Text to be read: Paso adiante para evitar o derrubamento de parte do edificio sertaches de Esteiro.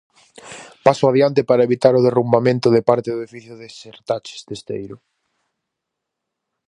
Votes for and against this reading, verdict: 0, 4, rejected